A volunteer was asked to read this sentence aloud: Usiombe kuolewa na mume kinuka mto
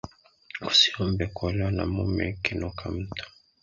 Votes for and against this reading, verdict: 2, 0, accepted